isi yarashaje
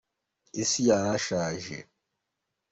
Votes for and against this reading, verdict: 2, 0, accepted